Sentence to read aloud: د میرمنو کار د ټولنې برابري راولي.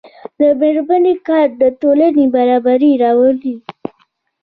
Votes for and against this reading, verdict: 2, 0, accepted